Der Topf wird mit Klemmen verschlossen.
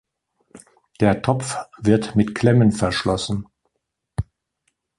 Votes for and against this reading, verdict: 2, 0, accepted